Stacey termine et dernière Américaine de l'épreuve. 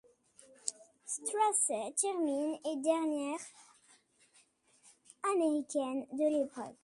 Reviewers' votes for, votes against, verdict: 1, 2, rejected